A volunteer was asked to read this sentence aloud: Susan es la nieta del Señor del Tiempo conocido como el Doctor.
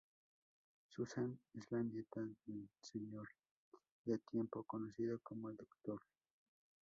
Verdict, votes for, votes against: rejected, 0, 2